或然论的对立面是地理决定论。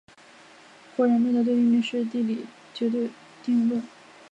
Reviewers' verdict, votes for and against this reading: rejected, 1, 4